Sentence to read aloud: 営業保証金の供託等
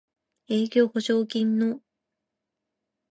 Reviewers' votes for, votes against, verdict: 0, 2, rejected